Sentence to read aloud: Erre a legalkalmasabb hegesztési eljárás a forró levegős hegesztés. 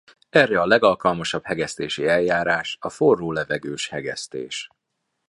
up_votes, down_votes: 3, 0